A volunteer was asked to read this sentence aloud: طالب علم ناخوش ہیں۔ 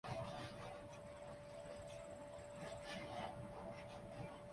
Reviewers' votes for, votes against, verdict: 0, 2, rejected